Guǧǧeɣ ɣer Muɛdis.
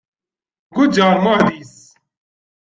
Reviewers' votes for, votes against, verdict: 2, 0, accepted